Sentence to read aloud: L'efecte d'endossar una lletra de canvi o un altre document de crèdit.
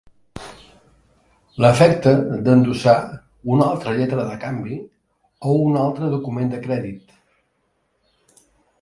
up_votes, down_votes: 0, 2